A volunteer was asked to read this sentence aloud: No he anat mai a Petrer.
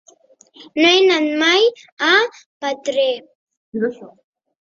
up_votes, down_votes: 1, 2